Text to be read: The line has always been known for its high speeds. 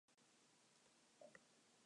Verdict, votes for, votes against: rejected, 0, 2